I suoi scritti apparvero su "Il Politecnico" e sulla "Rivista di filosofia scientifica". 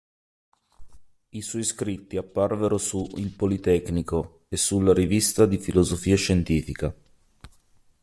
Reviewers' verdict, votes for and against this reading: accepted, 2, 0